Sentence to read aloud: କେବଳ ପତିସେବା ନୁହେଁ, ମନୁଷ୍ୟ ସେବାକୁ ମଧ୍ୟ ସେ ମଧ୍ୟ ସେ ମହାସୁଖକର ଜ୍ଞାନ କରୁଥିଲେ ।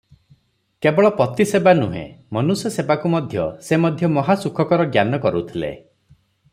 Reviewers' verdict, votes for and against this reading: rejected, 0, 3